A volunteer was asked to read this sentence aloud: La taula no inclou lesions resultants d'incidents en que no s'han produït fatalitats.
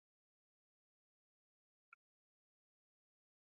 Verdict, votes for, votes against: rejected, 0, 2